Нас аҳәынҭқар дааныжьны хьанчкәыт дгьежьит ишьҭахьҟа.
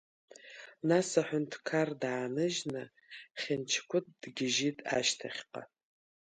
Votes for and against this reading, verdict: 5, 8, rejected